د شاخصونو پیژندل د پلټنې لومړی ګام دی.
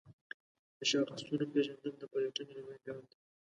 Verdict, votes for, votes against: rejected, 0, 2